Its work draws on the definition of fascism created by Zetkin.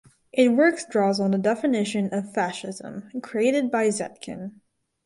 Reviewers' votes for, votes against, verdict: 0, 4, rejected